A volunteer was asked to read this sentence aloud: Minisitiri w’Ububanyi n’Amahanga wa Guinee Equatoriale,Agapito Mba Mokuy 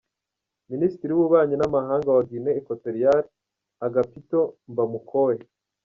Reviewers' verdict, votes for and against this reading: rejected, 0, 2